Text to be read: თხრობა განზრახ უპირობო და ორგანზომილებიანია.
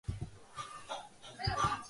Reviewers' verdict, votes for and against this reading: rejected, 0, 2